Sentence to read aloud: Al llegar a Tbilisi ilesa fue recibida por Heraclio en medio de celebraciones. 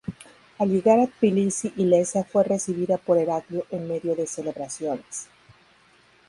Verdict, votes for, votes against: rejected, 2, 2